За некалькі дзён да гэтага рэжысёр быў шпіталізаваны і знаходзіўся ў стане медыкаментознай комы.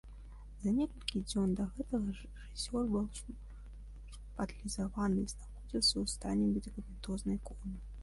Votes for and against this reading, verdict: 0, 3, rejected